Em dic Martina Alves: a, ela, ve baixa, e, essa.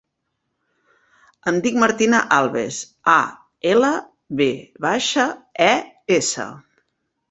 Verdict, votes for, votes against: accepted, 2, 0